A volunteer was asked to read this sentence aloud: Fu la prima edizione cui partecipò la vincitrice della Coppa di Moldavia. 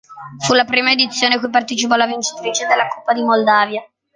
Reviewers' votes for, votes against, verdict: 2, 0, accepted